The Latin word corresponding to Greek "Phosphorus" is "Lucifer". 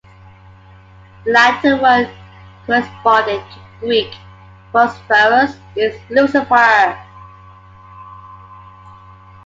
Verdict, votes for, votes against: accepted, 2, 1